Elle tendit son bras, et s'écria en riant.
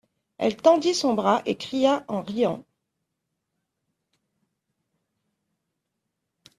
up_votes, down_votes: 0, 2